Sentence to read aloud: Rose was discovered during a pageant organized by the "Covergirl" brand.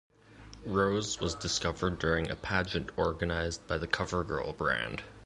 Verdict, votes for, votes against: accepted, 2, 0